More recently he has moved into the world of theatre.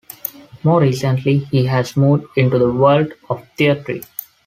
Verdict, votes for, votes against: accepted, 2, 1